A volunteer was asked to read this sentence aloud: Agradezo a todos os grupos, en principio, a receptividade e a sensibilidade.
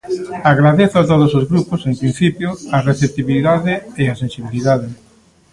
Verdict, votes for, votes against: rejected, 0, 2